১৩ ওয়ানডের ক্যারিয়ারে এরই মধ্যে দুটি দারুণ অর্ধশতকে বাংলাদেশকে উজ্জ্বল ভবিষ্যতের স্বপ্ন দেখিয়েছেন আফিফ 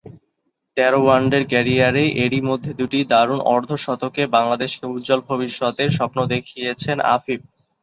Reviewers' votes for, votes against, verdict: 0, 2, rejected